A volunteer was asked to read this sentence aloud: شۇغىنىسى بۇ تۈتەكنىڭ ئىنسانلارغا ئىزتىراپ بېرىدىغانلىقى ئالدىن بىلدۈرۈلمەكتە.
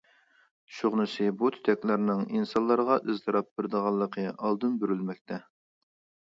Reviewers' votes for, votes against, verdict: 0, 2, rejected